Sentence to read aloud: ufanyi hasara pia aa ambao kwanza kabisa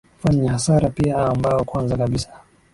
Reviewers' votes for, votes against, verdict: 12, 1, accepted